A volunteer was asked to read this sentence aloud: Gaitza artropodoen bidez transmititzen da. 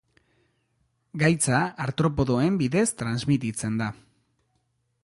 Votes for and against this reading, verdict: 2, 0, accepted